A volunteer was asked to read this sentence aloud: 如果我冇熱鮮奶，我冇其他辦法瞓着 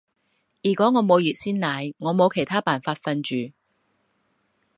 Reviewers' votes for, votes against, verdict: 0, 2, rejected